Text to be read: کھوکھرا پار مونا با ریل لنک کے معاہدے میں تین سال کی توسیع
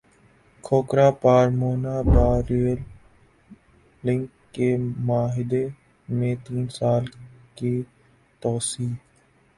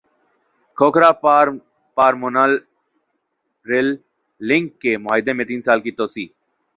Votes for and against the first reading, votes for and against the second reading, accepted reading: 5, 1, 1, 2, first